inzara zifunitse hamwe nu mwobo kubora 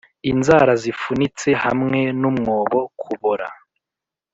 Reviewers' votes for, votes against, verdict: 1, 2, rejected